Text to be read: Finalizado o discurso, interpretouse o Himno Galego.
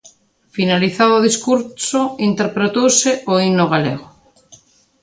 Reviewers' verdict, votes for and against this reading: rejected, 1, 2